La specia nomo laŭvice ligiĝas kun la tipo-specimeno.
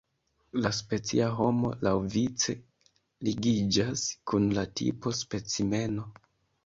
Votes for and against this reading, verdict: 1, 2, rejected